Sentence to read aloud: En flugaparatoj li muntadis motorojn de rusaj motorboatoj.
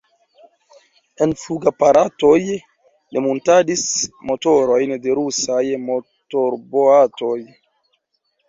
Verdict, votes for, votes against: accepted, 2, 1